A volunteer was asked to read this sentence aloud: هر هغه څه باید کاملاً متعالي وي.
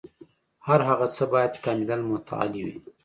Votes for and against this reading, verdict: 2, 0, accepted